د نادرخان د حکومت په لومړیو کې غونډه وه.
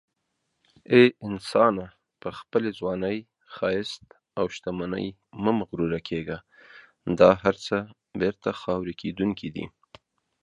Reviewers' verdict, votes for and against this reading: rejected, 0, 2